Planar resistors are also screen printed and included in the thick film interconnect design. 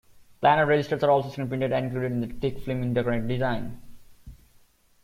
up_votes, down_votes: 1, 2